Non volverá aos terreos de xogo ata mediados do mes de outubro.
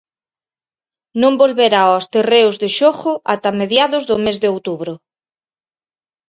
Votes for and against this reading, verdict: 4, 0, accepted